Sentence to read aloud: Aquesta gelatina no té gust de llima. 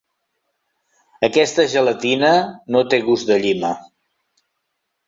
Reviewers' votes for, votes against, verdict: 3, 0, accepted